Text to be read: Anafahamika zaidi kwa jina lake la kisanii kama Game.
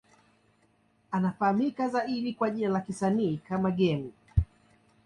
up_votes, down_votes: 2, 1